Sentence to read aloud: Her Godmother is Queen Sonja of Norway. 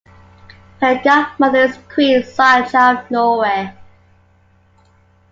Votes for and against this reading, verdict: 2, 0, accepted